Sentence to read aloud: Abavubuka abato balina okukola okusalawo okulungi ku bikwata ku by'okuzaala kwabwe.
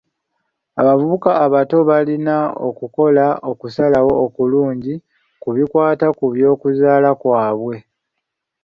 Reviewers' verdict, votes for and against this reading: accepted, 2, 1